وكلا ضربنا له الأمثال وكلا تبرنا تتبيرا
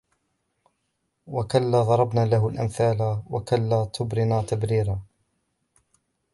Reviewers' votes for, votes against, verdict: 0, 2, rejected